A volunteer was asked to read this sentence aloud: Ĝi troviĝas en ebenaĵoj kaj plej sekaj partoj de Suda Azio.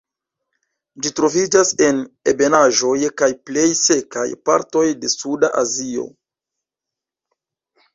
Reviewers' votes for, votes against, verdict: 1, 2, rejected